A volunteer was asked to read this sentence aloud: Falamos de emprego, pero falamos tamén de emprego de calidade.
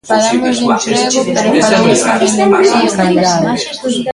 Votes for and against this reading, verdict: 0, 2, rejected